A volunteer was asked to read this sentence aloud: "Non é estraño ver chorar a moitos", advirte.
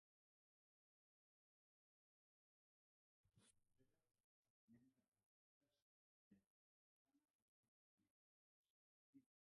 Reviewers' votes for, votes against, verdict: 0, 2, rejected